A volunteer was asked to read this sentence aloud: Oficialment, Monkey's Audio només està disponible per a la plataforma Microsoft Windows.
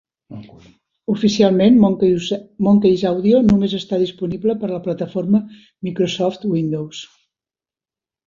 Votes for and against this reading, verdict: 1, 2, rejected